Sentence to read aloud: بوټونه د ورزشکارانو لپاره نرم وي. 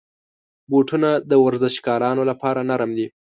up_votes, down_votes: 2, 0